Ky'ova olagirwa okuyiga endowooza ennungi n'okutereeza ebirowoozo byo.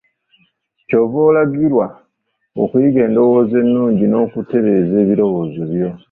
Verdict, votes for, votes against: rejected, 0, 2